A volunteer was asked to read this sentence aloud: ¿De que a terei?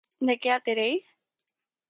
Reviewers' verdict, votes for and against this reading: accepted, 4, 0